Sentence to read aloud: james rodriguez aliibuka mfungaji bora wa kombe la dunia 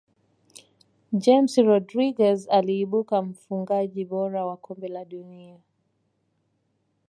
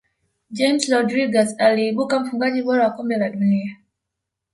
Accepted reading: first